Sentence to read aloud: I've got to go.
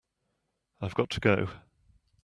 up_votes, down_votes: 2, 0